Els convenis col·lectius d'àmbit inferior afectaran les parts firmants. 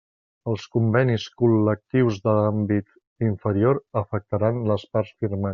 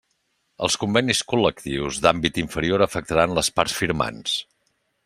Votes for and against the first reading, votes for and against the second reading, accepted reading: 1, 2, 3, 0, second